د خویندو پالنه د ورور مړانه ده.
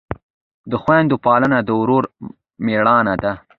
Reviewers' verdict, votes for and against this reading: rejected, 0, 2